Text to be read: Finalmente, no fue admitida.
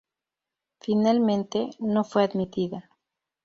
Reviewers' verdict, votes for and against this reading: accepted, 2, 0